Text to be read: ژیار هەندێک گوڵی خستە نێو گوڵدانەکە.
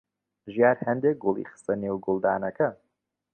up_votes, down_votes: 2, 0